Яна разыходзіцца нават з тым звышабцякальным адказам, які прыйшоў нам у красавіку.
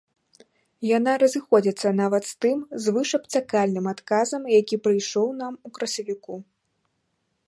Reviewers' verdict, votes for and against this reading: accepted, 2, 0